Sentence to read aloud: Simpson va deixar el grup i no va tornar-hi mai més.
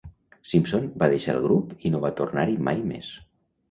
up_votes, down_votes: 2, 0